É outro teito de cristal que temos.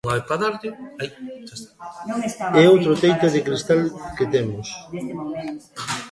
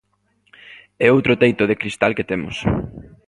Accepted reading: second